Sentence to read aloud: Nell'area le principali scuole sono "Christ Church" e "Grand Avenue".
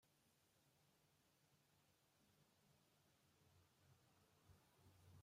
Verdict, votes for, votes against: rejected, 0, 2